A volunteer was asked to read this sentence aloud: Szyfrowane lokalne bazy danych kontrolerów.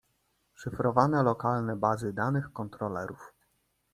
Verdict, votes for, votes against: accepted, 2, 0